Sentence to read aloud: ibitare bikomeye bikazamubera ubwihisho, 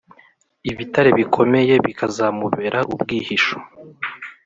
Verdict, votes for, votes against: accepted, 2, 0